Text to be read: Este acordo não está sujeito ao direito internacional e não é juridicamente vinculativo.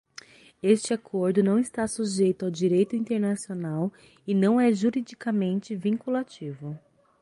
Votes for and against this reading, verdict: 6, 0, accepted